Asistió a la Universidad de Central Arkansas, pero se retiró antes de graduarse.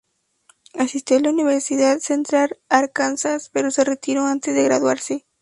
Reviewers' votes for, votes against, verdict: 2, 0, accepted